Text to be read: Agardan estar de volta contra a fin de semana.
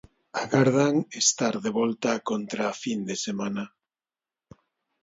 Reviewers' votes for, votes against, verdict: 2, 0, accepted